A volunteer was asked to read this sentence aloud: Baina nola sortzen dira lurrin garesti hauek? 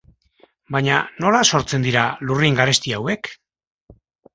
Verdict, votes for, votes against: accepted, 2, 0